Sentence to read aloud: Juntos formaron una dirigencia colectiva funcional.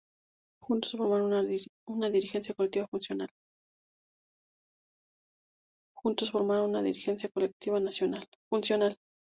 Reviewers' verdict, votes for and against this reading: rejected, 0, 2